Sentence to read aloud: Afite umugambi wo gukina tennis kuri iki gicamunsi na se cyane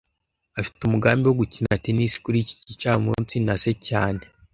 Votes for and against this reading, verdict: 2, 0, accepted